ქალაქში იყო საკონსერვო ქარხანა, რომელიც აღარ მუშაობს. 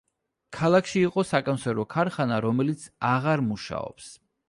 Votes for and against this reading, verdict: 2, 1, accepted